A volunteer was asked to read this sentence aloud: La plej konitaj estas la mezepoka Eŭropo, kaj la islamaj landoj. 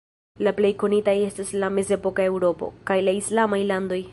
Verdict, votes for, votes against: rejected, 0, 2